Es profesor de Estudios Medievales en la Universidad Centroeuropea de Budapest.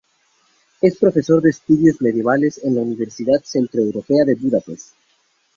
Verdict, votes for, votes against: rejected, 0, 2